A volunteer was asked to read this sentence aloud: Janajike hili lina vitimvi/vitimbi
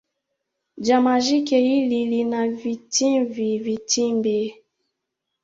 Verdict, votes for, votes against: rejected, 0, 2